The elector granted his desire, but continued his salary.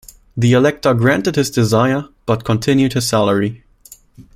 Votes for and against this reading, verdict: 2, 0, accepted